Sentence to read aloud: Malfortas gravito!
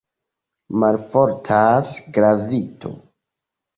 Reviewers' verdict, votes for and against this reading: accepted, 2, 0